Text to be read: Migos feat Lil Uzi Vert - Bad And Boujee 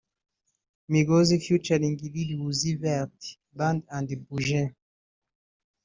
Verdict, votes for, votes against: rejected, 1, 2